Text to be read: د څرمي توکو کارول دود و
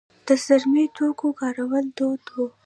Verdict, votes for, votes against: rejected, 1, 2